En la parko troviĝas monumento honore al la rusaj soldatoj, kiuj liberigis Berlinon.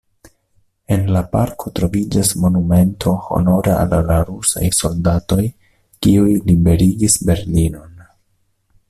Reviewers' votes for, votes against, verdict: 1, 2, rejected